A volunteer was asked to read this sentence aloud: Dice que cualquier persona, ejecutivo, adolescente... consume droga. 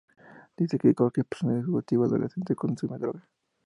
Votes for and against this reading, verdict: 2, 0, accepted